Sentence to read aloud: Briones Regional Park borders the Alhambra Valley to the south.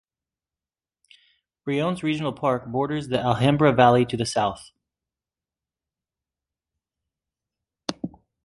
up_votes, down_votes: 3, 0